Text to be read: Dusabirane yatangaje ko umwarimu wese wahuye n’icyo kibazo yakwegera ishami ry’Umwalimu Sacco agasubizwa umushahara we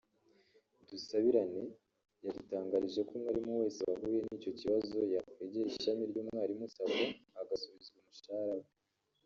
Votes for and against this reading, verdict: 1, 2, rejected